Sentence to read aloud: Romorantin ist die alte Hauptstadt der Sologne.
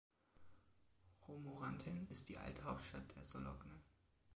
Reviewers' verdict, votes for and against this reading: rejected, 1, 2